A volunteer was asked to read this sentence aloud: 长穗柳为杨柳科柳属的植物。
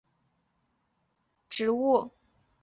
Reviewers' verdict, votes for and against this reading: rejected, 2, 4